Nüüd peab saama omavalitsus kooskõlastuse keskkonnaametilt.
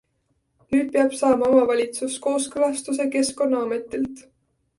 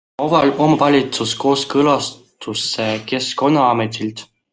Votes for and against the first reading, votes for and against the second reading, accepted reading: 2, 0, 0, 2, first